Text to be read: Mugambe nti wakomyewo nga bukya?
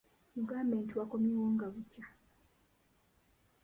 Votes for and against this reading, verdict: 2, 0, accepted